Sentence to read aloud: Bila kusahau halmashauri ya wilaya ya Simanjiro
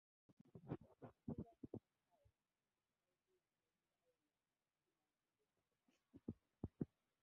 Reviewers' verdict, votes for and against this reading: rejected, 0, 3